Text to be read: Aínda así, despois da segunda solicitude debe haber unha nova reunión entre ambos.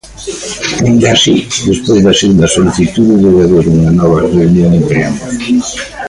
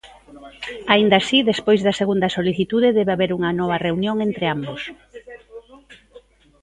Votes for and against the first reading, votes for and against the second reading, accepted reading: 1, 2, 2, 1, second